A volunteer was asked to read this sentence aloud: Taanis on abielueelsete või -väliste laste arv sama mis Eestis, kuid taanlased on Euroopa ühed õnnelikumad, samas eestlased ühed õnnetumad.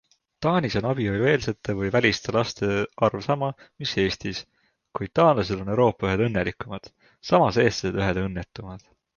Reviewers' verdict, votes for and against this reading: accepted, 2, 0